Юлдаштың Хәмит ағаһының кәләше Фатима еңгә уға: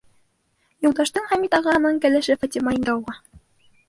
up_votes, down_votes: 1, 3